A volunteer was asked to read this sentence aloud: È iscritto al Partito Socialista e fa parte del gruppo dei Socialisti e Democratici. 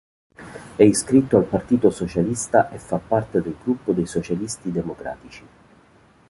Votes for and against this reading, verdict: 1, 2, rejected